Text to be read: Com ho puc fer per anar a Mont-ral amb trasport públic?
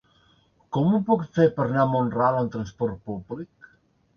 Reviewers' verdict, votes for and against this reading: rejected, 0, 2